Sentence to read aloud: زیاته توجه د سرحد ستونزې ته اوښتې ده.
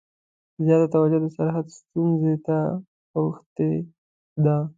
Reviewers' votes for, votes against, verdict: 2, 0, accepted